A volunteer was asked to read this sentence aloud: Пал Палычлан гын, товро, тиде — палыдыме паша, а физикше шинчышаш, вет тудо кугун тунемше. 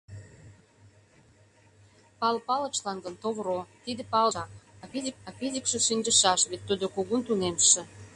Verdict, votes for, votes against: rejected, 1, 2